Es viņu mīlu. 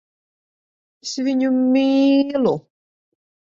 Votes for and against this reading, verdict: 1, 2, rejected